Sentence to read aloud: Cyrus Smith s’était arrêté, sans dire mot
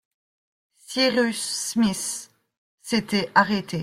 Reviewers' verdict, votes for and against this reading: rejected, 1, 2